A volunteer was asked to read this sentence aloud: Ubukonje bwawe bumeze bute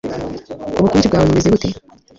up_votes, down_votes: 1, 2